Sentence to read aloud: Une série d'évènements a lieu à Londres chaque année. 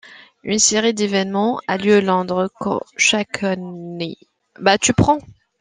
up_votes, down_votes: 0, 2